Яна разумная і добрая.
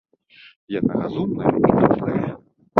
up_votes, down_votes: 0, 2